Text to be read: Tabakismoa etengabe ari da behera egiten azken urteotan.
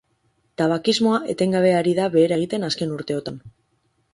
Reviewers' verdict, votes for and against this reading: accepted, 4, 0